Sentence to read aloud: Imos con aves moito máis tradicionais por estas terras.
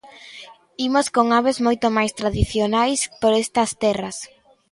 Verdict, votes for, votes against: accepted, 2, 0